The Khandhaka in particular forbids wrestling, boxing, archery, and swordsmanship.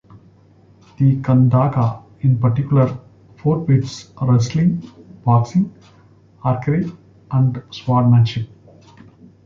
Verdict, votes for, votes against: accepted, 2, 0